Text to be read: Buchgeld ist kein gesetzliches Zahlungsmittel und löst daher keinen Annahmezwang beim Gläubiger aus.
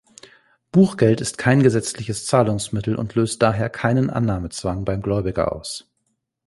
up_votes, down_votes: 2, 0